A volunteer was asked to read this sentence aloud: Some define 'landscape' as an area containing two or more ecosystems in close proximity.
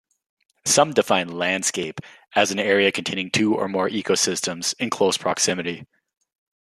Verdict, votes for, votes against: accepted, 2, 0